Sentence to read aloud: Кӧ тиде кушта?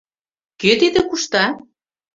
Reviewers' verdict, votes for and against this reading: accepted, 2, 0